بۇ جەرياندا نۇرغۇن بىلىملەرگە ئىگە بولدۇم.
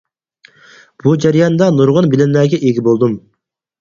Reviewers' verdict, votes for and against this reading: accepted, 4, 2